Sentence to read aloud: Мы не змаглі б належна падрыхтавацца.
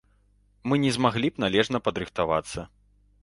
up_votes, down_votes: 2, 0